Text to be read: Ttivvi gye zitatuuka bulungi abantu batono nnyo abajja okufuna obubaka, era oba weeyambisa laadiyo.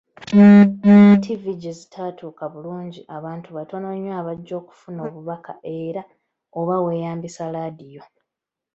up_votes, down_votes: 2, 1